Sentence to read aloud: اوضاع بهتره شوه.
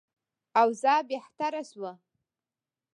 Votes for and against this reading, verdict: 3, 0, accepted